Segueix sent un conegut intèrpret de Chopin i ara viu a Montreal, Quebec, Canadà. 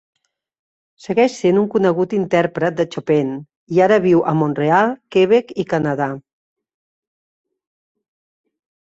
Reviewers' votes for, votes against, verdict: 1, 2, rejected